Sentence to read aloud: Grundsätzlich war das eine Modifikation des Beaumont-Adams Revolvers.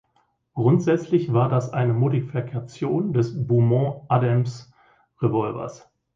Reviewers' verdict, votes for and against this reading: rejected, 1, 2